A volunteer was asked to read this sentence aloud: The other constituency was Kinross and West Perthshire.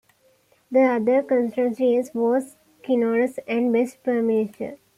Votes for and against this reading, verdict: 1, 2, rejected